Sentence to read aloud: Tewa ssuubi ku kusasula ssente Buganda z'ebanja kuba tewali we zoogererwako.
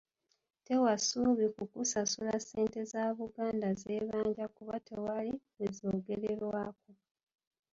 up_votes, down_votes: 0, 2